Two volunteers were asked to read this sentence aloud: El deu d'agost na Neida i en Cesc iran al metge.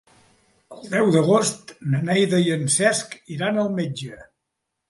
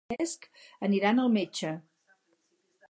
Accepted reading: first